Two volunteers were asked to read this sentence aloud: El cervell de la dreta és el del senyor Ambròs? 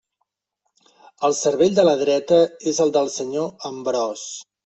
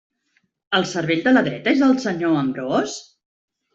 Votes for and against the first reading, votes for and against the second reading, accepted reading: 2, 1, 0, 2, first